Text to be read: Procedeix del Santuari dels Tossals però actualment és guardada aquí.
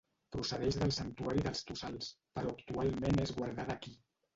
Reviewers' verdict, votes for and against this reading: rejected, 0, 2